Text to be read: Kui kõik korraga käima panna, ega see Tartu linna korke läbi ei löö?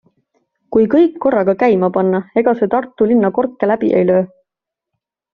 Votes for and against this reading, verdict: 2, 0, accepted